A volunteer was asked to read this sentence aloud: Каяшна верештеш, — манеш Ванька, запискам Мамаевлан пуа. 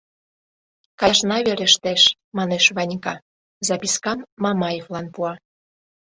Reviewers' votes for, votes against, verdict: 1, 2, rejected